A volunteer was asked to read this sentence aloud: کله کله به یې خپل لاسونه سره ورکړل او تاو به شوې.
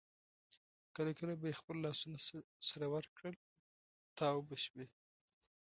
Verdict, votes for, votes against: accepted, 2, 0